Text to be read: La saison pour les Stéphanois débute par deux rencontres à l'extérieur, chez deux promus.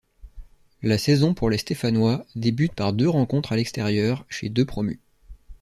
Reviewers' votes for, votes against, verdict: 2, 0, accepted